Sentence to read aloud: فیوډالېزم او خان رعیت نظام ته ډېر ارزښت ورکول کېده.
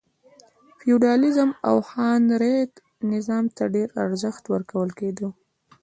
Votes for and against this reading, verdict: 1, 2, rejected